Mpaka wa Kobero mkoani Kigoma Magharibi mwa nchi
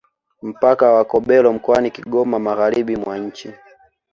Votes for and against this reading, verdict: 2, 0, accepted